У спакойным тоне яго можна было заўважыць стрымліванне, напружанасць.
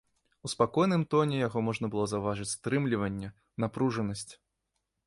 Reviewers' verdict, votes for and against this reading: accepted, 2, 0